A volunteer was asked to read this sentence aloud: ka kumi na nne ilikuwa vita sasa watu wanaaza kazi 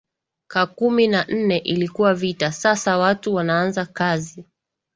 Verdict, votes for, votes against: accepted, 2, 1